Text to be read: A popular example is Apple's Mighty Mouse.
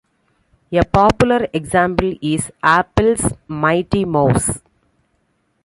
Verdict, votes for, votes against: accepted, 2, 1